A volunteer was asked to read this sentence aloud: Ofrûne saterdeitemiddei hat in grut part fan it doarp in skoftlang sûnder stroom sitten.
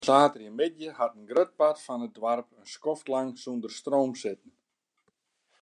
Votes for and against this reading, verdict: 0, 3, rejected